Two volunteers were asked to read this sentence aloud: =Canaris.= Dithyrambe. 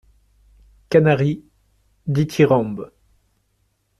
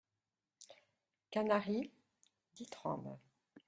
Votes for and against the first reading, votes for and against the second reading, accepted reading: 2, 0, 0, 2, first